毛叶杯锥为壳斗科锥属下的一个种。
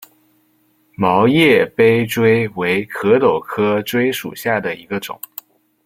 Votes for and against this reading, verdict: 2, 0, accepted